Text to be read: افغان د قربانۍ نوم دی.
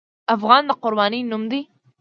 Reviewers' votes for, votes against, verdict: 2, 0, accepted